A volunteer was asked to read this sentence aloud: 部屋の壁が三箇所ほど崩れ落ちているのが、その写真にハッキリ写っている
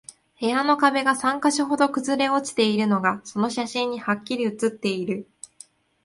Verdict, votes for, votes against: accepted, 2, 1